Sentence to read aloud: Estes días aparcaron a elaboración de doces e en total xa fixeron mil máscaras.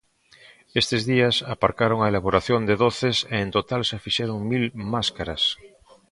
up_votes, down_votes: 2, 0